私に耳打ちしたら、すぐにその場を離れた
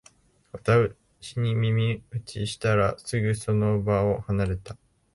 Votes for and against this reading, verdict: 1, 2, rejected